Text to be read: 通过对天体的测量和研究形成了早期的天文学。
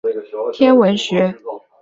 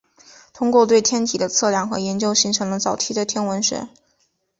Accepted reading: second